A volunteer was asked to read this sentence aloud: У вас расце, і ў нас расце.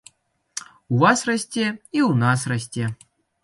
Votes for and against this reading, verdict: 2, 0, accepted